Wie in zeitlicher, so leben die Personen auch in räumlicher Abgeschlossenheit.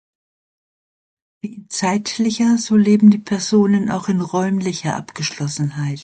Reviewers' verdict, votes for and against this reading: rejected, 0, 2